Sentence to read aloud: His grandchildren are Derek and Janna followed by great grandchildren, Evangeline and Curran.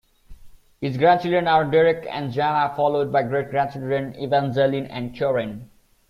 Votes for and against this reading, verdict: 2, 1, accepted